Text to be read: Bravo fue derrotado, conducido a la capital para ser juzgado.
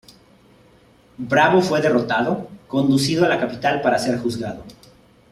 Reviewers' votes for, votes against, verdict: 2, 0, accepted